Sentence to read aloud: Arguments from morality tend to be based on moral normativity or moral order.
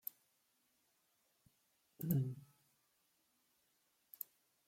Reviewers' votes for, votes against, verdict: 0, 2, rejected